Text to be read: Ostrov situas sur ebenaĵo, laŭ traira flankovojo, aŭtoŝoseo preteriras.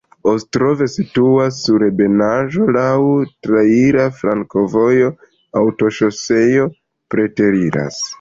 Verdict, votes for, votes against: accepted, 2, 1